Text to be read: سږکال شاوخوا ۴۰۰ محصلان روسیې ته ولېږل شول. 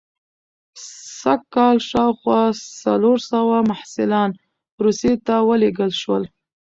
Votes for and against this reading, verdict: 0, 2, rejected